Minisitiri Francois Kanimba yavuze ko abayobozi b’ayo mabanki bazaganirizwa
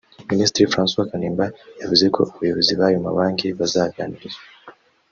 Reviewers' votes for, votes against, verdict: 2, 1, accepted